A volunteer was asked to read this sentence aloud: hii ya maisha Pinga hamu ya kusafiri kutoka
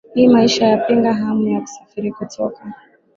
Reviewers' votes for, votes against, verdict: 7, 6, accepted